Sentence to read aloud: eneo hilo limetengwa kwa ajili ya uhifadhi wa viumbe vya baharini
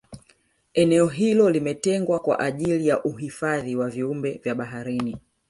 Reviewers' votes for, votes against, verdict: 2, 0, accepted